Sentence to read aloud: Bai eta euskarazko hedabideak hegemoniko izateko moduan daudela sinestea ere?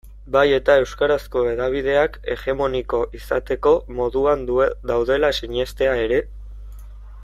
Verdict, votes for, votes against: rejected, 1, 2